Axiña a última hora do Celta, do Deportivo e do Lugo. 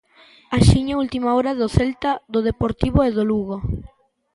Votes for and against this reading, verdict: 2, 0, accepted